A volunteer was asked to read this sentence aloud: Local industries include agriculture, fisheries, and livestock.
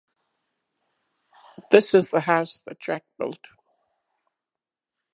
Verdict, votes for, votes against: accepted, 2, 1